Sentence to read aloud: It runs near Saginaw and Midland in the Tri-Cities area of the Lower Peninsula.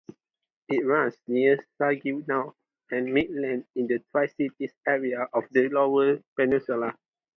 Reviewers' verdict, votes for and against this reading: accepted, 2, 0